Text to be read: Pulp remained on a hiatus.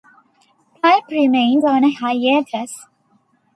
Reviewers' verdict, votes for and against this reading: accepted, 2, 1